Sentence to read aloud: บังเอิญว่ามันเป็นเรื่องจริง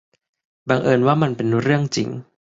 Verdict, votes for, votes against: accepted, 3, 0